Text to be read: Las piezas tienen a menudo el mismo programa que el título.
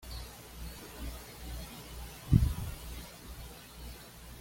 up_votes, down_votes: 1, 2